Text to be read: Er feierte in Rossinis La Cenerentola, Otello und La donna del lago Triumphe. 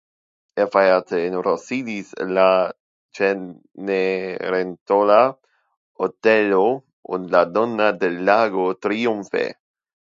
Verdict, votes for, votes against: rejected, 0, 2